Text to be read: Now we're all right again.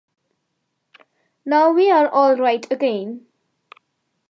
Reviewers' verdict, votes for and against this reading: accepted, 2, 0